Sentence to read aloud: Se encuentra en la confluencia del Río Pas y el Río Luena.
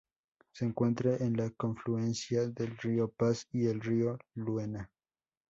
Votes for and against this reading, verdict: 2, 0, accepted